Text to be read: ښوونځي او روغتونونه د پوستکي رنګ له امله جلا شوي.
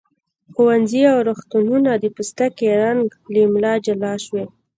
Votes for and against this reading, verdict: 0, 2, rejected